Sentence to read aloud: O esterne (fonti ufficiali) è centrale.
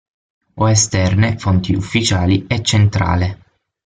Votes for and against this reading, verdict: 6, 0, accepted